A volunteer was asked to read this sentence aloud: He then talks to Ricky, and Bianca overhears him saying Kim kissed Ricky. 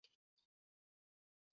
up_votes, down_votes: 0, 2